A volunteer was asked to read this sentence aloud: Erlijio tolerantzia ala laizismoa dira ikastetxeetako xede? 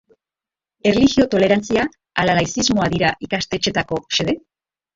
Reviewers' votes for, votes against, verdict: 2, 0, accepted